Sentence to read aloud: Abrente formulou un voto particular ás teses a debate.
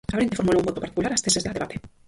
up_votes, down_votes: 0, 4